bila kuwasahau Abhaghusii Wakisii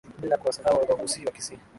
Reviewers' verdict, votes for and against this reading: accepted, 2, 0